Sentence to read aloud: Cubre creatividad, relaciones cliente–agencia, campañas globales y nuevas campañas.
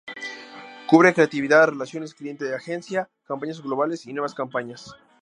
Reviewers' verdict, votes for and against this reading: accepted, 2, 0